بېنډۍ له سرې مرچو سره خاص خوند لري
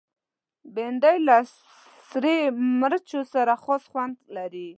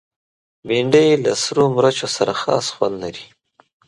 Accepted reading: second